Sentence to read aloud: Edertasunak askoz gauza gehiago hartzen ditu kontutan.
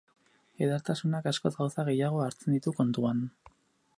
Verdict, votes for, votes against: rejected, 0, 2